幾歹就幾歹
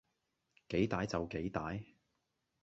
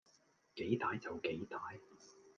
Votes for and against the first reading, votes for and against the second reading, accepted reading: 1, 2, 2, 0, second